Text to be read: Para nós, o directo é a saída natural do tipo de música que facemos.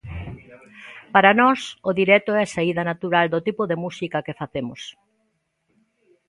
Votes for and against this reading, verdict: 2, 0, accepted